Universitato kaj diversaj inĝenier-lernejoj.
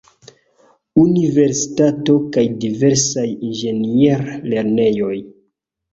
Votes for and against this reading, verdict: 2, 1, accepted